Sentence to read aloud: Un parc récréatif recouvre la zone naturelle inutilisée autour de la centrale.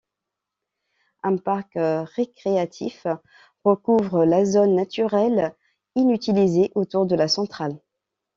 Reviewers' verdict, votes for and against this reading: accepted, 2, 0